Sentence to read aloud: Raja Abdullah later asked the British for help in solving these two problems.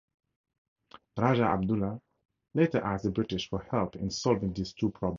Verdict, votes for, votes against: accepted, 4, 2